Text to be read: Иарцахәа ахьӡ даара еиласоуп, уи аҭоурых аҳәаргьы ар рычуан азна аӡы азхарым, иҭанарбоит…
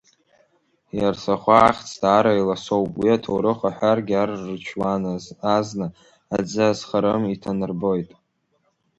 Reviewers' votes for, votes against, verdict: 1, 3, rejected